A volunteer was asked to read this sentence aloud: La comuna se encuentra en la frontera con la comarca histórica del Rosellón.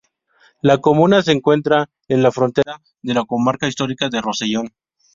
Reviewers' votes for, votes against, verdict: 2, 0, accepted